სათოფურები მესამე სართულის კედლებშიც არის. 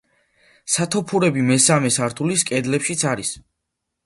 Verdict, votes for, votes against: accepted, 2, 0